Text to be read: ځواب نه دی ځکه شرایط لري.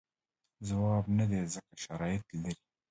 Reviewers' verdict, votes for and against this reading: accepted, 2, 0